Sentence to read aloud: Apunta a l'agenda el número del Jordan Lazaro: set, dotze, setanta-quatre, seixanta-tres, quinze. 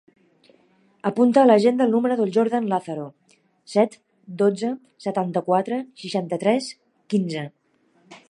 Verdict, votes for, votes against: accepted, 3, 0